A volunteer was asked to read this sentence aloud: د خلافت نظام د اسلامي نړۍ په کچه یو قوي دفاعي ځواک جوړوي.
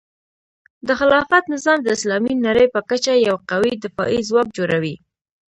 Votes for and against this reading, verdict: 2, 0, accepted